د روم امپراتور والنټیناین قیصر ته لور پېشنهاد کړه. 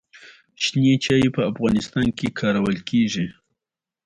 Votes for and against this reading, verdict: 1, 2, rejected